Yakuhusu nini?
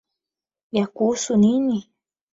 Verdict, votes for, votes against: accepted, 12, 0